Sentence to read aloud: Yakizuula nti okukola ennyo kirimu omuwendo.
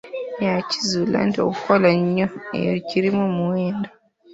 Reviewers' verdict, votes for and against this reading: rejected, 1, 2